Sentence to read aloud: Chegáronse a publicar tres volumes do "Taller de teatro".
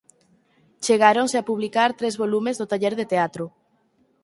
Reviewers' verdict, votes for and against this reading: accepted, 4, 0